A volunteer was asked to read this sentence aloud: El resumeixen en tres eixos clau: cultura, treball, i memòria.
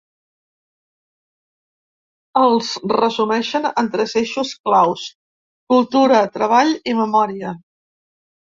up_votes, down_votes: 1, 2